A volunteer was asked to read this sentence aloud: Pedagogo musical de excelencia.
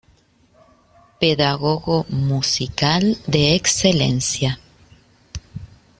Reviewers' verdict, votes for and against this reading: accepted, 2, 0